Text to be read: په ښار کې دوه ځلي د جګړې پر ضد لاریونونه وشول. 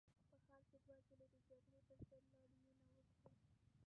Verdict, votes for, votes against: rejected, 0, 2